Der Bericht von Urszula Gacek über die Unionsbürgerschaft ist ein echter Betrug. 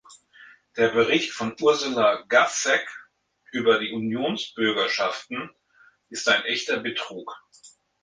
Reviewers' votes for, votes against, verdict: 0, 2, rejected